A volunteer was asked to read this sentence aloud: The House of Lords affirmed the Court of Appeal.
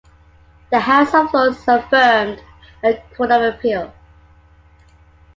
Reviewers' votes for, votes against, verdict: 2, 1, accepted